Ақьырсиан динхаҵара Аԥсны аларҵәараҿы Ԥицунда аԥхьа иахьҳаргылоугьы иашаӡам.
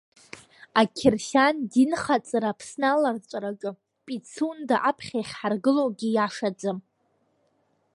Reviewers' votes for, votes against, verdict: 1, 2, rejected